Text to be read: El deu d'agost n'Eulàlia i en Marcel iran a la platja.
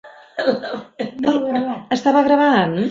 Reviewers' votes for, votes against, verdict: 0, 2, rejected